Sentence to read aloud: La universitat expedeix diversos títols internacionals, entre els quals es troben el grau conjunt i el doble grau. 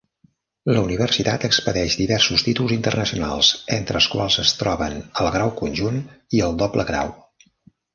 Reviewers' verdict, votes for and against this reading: accepted, 3, 1